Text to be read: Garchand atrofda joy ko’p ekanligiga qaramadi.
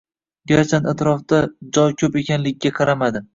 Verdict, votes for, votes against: rejected, 1, 2